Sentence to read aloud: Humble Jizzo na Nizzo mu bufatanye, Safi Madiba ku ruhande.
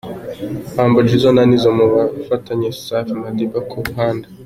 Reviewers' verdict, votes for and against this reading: accepted, 2, 0